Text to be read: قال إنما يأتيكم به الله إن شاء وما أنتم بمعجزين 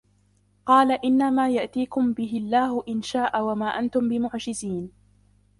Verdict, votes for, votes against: rejected, 0, 2